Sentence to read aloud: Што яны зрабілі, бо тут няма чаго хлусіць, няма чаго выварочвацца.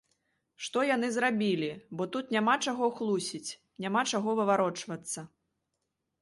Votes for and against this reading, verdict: 2, 1, accepted